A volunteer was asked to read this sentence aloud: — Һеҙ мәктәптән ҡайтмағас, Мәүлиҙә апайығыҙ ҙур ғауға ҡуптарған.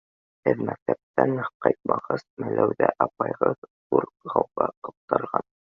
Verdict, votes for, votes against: rejected, 1, 2